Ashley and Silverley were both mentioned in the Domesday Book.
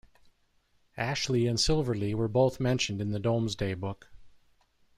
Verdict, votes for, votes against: rejected, 1, 2